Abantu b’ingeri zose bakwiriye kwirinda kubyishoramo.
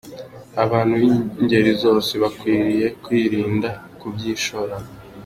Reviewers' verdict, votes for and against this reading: accepted, 2, 0